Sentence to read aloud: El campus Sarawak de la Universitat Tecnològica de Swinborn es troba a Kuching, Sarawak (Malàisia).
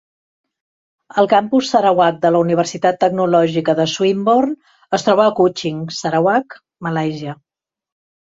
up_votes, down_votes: 2, 0